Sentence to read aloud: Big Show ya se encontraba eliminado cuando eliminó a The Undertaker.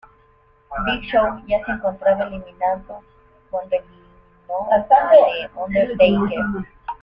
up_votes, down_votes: 0, 2